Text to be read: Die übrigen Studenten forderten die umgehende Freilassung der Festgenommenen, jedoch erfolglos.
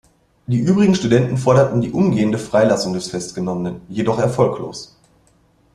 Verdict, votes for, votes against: rejected, 0, 2